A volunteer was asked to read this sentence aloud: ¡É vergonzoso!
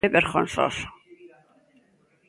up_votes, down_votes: 0, 2